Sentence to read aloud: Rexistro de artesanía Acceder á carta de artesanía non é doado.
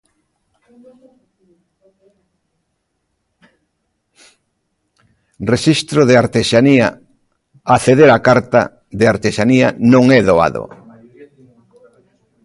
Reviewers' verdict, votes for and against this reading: rejected, 0, 2